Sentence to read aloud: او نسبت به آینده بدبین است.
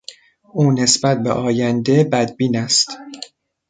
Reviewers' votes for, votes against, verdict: 2, 0, accepted